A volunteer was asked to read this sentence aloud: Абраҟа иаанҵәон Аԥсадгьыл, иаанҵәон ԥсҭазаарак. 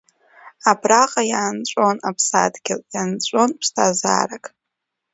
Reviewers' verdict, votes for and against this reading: accepted, 2, 0